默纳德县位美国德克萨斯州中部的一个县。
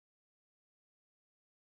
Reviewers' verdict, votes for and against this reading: rejected, 0, 4